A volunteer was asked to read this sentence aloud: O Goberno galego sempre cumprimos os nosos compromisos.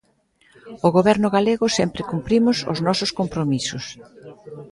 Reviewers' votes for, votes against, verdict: 1, 2, rejected